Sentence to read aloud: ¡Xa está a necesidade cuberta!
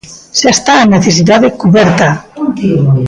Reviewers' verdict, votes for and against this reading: rejected, 0, 2